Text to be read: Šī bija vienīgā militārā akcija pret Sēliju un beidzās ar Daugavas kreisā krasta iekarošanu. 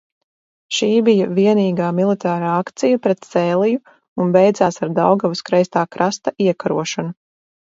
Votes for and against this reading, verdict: 2, 2, rejected